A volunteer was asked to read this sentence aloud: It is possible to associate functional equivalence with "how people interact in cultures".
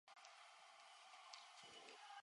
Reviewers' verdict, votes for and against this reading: rejected, 0, 2